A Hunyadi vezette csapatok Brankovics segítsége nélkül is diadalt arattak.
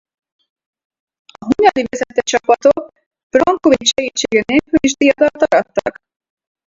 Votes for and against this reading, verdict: 0, 4, rejected